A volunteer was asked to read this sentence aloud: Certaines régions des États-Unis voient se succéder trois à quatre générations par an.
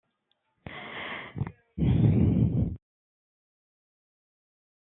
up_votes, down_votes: 0, 2